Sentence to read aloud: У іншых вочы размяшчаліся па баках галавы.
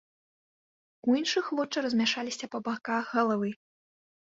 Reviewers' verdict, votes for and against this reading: rejected, 1, 2